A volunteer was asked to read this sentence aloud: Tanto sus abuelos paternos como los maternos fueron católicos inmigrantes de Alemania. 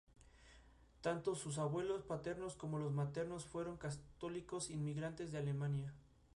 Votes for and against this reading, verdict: 2, 0, accepted